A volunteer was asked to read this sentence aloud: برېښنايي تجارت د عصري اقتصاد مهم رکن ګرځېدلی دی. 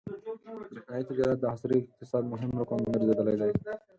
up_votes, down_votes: 2, 4